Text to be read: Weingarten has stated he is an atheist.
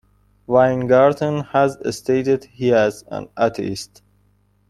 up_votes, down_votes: 0, 2